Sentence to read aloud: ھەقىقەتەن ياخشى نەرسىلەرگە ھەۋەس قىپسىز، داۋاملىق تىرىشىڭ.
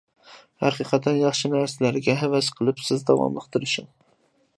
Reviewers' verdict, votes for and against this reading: accepted, 2, 1